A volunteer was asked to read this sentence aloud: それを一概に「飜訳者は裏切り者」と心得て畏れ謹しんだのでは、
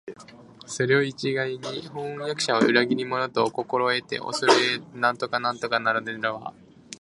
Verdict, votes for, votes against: rejected, 0, 2